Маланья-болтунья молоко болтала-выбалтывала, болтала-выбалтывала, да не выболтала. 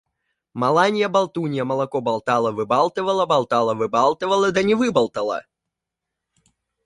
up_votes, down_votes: 2, 1